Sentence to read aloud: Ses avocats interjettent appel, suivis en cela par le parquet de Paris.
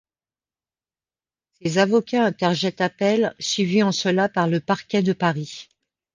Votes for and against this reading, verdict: 1, 2, rejected